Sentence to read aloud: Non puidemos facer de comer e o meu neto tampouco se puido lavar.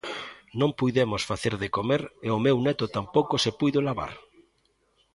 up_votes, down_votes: 2, 0